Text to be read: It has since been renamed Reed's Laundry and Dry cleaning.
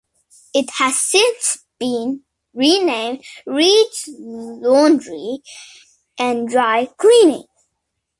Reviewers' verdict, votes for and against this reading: accepted, 2, 0